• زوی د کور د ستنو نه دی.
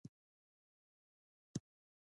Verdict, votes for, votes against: rejected, 0, 2